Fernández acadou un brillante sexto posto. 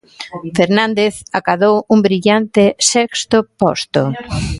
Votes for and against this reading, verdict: 0, 2, rejected